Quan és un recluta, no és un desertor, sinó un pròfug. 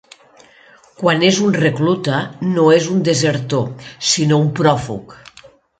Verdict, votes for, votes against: accepted, 2, 0